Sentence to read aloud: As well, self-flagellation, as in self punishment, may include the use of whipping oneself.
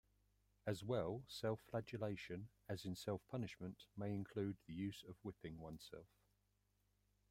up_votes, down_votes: 2, 1